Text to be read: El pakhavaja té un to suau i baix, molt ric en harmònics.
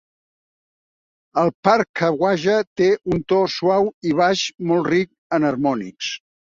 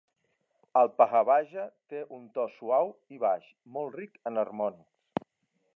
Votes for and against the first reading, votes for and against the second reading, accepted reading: 1, 2, 2, 0, second